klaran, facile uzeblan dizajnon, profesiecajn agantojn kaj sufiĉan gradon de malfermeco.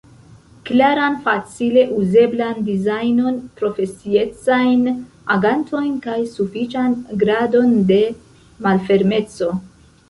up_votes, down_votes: 1, 2